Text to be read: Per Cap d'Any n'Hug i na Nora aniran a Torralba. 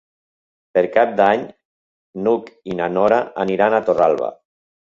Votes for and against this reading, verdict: 3, 0, accepted